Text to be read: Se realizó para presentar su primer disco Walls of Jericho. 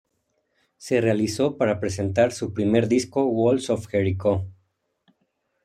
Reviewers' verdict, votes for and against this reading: accepted, 2, 0